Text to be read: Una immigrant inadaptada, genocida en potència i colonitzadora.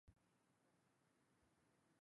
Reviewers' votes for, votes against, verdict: 0, 2, rejected